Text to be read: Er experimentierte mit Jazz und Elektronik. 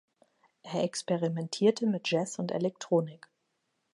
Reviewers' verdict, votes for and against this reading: accepted, 2, 0